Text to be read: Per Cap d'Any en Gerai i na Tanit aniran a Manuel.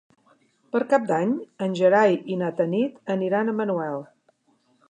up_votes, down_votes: 3, 0